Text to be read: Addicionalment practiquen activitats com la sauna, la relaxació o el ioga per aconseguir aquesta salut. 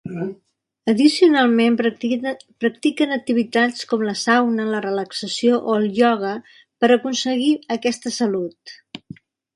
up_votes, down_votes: 0, 2